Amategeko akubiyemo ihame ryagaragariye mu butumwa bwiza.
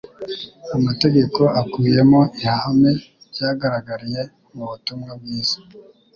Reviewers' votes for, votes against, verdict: 2, 0, accepted